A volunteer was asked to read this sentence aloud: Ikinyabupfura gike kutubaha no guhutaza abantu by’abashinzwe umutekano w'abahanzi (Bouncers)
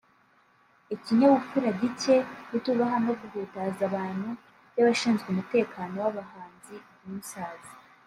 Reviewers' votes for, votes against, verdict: 1, 2, rejected